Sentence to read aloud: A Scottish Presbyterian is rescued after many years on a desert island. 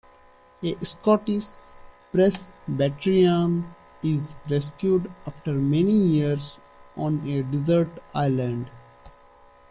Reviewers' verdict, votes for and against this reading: accepted, 2, 1